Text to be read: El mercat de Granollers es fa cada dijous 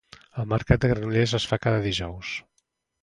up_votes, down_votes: 2, 0